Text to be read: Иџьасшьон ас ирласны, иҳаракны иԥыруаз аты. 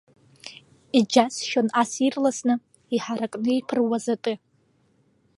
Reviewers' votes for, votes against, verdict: 2, 0, accepted